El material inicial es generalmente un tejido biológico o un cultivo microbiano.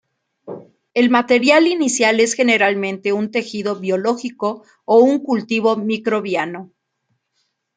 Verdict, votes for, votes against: accepted, 2, 0